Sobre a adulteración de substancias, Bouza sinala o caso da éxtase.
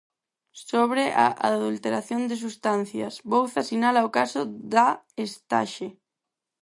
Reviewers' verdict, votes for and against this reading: rejected, 0, 4